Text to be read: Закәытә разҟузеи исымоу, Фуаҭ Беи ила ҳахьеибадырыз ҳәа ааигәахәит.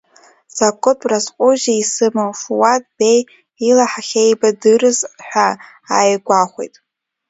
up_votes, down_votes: 1, 2